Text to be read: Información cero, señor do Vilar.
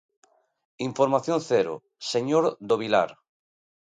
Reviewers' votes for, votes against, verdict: 2, 0, accepted